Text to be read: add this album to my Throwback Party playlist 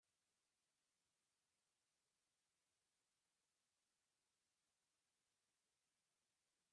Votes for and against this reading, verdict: 0, 2, rejected